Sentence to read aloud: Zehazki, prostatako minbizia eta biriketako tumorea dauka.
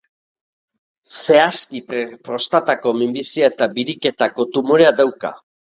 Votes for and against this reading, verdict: 1, 3, rejected